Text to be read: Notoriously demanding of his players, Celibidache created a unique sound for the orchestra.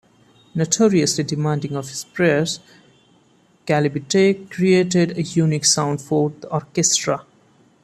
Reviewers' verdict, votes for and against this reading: rejected, 1, 2